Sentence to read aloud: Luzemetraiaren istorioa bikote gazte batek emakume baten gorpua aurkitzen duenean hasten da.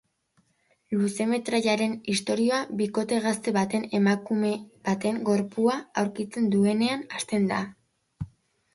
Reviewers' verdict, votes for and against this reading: rejected, 0, 2